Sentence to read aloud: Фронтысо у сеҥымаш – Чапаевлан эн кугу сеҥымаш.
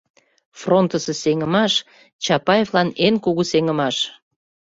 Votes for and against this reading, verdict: 0, 2, rejected